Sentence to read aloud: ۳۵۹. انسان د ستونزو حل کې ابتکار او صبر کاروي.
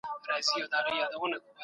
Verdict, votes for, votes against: rejected, 0, 2